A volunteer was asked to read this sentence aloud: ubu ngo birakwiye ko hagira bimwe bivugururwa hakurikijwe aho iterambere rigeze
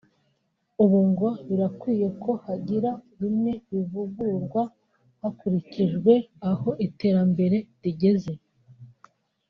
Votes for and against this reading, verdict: 1, 2, rejected